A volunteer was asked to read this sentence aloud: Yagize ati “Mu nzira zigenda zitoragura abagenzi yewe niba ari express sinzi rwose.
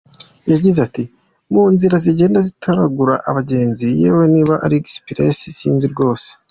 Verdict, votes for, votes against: accepted, 2, 1